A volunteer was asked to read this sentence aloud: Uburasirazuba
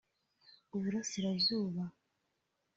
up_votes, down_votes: 3, 0